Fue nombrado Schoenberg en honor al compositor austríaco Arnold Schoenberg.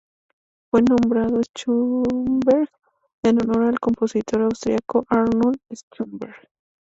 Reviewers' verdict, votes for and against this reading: accepted, 2, 0